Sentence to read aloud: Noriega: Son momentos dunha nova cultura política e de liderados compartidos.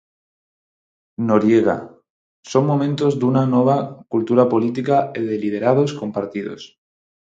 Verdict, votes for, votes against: rejected, 0, 4